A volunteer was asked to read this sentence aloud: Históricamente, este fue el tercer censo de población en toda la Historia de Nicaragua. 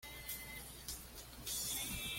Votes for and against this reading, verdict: 1, 2, rejected